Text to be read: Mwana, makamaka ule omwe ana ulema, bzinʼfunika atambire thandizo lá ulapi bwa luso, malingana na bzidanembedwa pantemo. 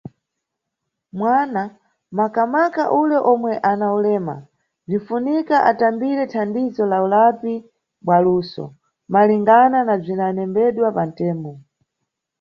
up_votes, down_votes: 2, 0